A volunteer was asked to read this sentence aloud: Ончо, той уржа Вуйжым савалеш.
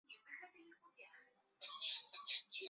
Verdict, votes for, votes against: rejected, 0, 5